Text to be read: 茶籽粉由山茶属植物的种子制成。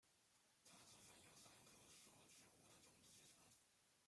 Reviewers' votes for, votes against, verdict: 0, 2, rejected